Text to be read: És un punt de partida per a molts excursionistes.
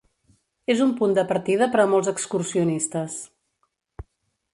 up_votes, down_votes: 3, 0